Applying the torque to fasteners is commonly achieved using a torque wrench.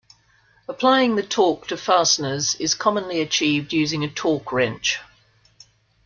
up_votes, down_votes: 2, 1